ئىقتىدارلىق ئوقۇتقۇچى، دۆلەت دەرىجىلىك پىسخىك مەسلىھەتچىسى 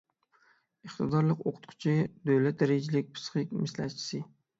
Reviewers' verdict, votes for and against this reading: accepted, 6, 3